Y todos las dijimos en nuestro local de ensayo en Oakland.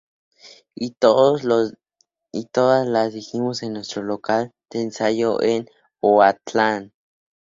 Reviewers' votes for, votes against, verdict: 0, 2, rejected